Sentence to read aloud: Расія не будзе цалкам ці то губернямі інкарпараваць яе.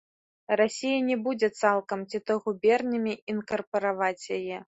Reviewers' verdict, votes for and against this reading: accepted, 2, 0